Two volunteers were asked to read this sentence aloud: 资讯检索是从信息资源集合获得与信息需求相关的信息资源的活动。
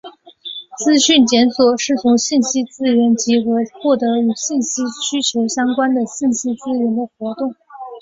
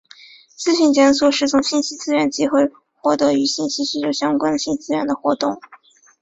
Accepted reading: first